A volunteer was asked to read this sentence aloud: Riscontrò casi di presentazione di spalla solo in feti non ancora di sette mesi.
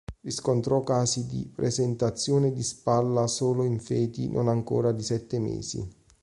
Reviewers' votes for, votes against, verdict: 3, 0, accepted